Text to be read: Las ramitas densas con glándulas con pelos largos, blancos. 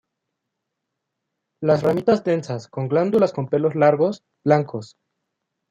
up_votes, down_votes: 2, 0